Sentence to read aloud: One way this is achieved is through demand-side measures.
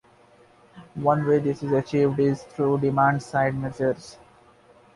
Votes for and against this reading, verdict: 2, 0, accepted